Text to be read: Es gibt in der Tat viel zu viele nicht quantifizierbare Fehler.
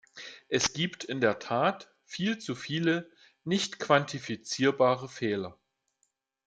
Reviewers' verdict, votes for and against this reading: accepted, 2, 0